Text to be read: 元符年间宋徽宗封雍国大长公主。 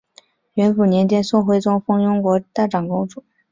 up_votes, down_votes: 2, 0